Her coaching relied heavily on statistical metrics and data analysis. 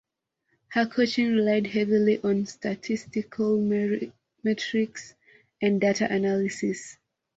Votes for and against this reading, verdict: 0, 2, rejected